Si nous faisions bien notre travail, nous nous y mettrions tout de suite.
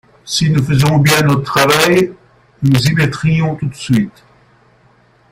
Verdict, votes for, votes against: rejected, 1, 2